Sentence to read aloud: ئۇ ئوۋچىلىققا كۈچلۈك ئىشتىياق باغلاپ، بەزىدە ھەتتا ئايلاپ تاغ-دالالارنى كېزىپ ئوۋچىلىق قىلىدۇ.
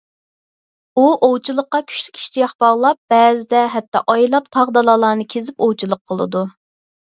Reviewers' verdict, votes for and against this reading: accepted, 4, 0